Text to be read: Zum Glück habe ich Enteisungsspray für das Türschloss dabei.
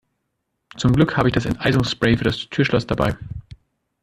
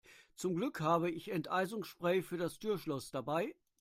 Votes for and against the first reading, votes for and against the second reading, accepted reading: 0, 2, 2, 0, second